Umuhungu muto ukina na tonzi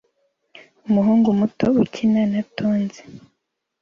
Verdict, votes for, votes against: accepted, 2, 0